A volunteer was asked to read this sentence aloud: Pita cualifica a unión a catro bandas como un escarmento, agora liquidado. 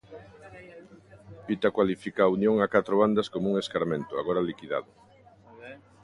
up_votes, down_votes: 0, 2